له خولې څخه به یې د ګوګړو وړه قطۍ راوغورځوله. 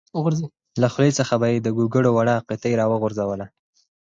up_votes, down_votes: 2, 4